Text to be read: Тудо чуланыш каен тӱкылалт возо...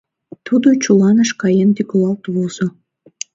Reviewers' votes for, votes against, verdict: 0, 2, rejected